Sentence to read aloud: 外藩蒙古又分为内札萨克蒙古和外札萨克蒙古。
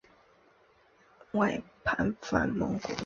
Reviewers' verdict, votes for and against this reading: rejected, 0, 4